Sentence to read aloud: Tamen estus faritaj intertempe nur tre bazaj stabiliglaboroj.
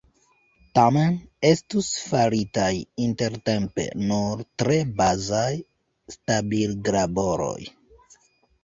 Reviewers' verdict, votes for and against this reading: rejected, 1, 2